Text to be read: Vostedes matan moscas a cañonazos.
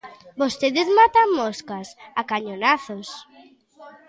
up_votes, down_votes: 2, 0